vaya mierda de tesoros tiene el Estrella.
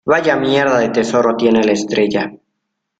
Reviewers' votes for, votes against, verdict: 0, 2, rejected